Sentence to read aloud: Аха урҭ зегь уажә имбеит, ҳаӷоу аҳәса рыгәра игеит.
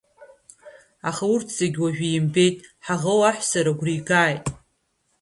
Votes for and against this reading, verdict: 1, 2, rejected